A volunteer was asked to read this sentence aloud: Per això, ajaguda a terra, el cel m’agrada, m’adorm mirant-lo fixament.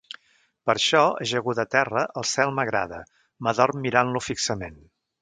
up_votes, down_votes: 2, 3